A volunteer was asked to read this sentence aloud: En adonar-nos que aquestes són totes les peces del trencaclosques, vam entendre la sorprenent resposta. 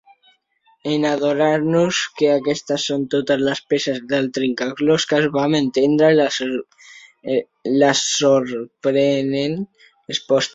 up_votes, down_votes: 0, 2